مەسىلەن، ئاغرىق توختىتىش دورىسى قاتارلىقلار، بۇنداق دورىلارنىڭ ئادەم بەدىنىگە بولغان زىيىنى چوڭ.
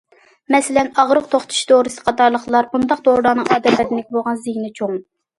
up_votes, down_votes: 2, 1